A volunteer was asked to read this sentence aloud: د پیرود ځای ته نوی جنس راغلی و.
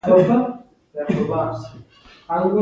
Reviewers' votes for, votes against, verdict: 1, 2, rejected